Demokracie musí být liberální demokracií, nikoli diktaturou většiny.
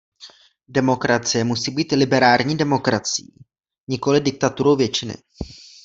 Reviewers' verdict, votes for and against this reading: rejected, 1, 2